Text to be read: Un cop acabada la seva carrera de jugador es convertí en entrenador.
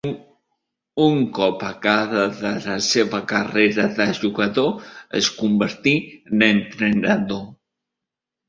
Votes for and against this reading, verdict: 3, 2, accepted